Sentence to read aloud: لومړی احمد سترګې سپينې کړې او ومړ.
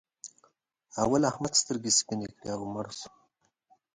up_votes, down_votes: 1, 2